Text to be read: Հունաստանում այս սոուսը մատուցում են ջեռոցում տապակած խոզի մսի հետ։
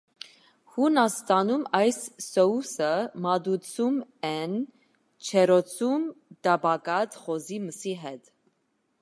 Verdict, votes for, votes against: accepted, 2, 0